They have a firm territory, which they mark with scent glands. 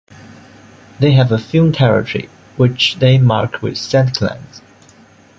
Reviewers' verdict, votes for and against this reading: accepted, 2, 1